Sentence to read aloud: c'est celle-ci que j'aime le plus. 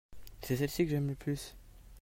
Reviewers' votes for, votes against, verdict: 2, 1, accepted